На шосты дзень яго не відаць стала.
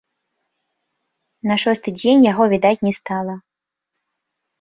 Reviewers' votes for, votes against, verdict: 0, 2, rejected